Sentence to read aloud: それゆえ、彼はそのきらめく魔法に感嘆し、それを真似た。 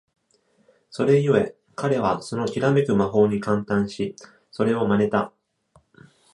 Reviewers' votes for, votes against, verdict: 2, 0, accepted